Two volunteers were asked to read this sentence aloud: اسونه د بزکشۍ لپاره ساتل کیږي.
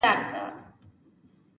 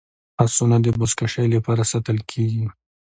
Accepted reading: second